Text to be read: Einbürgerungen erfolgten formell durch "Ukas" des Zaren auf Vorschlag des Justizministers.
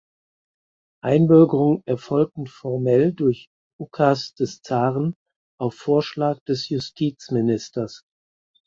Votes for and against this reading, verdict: 2, 4, rejected